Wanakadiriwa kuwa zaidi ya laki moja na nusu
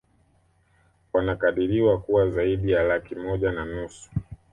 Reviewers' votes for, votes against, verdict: 2, 0, accepted